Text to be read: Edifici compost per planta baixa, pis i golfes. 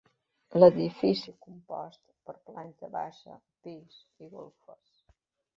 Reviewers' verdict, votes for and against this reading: rejected, 0, 2